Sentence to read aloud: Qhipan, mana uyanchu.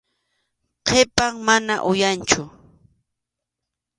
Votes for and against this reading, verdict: 2, 0, accepted